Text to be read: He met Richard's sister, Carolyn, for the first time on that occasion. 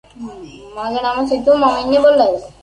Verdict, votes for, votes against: rejected, 0, 2